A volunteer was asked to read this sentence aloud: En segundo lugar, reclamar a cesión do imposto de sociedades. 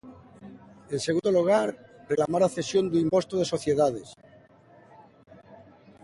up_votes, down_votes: 3, 1